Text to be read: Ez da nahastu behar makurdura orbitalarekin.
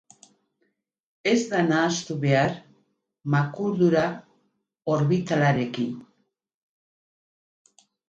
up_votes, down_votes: 2, 2